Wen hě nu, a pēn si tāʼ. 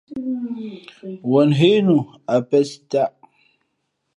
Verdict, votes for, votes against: rejected, 0, 2